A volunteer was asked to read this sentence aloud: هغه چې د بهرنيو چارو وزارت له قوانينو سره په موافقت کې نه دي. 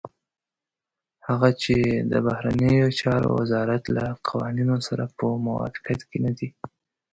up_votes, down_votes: 2, 0